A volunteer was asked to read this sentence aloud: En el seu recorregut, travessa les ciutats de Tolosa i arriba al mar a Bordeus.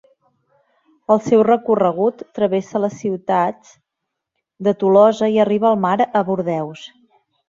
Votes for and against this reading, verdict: 1, 2, rejected